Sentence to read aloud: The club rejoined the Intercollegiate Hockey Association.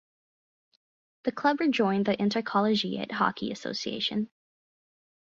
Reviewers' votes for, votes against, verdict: 4, 0, accepted